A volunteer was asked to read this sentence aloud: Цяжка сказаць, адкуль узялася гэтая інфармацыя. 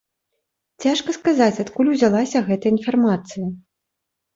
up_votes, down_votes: 2, 0